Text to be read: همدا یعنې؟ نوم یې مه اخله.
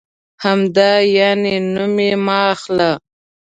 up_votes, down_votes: 3, 0